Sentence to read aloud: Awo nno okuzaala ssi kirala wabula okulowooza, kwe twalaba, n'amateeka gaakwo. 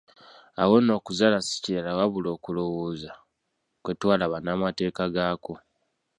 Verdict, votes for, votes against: rejected, 1, 2